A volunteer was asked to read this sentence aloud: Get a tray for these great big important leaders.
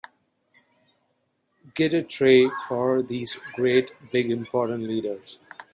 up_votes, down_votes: 2, 1